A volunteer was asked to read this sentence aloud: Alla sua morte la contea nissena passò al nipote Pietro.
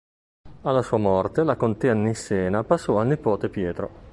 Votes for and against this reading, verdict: 2, 0, accepted